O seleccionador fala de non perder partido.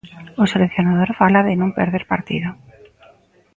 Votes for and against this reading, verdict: 1, 2, rejected